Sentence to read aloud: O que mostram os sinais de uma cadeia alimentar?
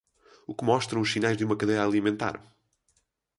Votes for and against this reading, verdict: 6, 0, accepted